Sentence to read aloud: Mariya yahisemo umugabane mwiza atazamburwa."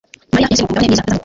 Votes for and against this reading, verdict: 1, 2, rejected